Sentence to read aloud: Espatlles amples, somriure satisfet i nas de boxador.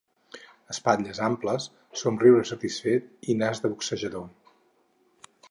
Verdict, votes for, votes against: rejected, 2, 4